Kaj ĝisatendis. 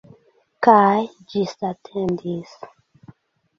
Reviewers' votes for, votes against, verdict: 2, 0, accepted